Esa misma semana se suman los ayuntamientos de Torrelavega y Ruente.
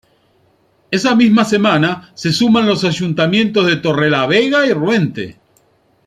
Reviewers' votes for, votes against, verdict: 2, 1, accepted